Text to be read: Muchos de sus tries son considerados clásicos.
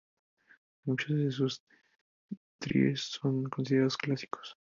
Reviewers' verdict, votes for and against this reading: accepted, 4, 0